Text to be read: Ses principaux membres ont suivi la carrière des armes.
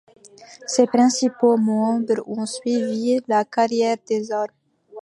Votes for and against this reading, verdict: 2, 0, accepted